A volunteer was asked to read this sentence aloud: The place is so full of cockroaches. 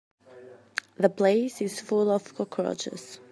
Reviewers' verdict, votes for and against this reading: rejected, 0, 3